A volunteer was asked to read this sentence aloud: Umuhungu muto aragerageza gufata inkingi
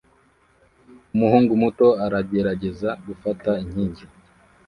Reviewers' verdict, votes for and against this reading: accepted, 2, 0